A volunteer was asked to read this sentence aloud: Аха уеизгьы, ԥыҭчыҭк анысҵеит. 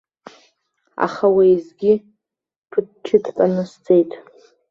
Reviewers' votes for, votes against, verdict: 0, 2, rejected